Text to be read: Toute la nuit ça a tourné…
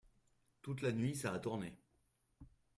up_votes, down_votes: 2, 0